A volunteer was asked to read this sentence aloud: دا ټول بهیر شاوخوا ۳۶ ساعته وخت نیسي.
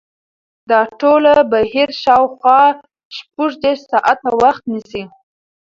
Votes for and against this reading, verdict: 0, 2, rejected